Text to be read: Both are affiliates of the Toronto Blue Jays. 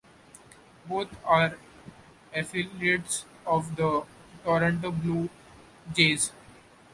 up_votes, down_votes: 0, 2